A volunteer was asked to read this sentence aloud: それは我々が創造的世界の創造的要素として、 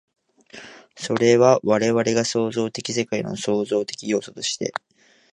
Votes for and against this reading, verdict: 2, 1, accepted